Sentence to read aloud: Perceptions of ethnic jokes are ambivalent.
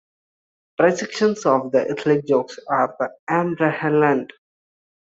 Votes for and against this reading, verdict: 2, 1, accepted